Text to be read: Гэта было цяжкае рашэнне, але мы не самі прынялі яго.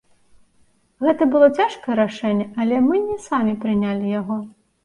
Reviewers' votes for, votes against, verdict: 2, 0, accepted